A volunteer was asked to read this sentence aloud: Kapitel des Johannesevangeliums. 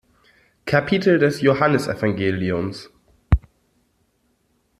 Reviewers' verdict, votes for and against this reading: accepted, 2, 0